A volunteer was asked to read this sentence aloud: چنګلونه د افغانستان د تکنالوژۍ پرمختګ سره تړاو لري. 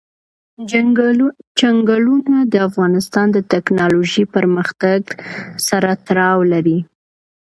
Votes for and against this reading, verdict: 2, 0, accepted